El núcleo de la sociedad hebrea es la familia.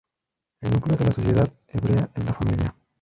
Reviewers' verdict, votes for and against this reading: rejected, 0, 2